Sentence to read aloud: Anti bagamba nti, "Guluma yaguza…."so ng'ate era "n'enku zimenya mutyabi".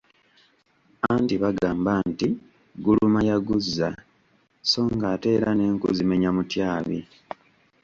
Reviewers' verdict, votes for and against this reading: accepted, 2, 0